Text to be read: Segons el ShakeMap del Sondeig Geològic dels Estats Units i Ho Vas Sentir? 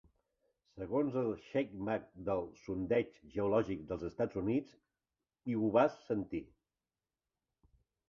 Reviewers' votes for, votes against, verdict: 0, 2, rejected